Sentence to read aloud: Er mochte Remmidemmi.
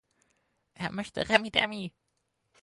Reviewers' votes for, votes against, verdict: 0, 4, rejected